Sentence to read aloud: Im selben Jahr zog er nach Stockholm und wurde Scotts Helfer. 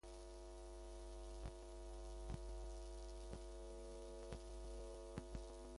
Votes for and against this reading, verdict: 0, 2, rejected